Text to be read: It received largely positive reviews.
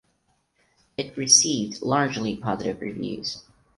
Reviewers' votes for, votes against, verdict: 4, 0, accepted